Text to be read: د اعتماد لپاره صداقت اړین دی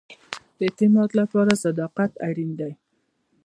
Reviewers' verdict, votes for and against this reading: rejected, 0, 2